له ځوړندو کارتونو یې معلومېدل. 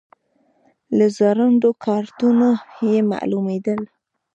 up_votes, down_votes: 2, 0